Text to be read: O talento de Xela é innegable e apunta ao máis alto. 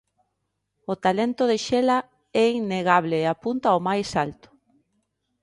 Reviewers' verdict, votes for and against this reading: accepted, 2, 0